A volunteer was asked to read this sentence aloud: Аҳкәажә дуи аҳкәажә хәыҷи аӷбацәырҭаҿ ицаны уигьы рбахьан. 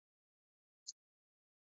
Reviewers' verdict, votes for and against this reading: rejected, 0, 3